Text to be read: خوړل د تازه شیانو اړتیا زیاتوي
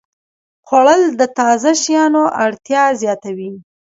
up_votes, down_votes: 1, 2